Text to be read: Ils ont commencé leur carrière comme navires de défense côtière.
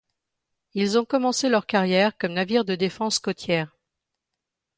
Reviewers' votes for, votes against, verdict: 2, 0, accepted